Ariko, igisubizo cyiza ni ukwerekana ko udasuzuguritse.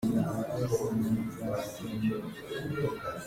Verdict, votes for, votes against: rejected, 0, 2